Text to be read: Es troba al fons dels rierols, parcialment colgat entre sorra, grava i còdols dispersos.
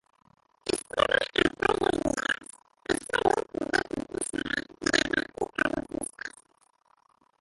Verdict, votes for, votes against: rejected, 0, 2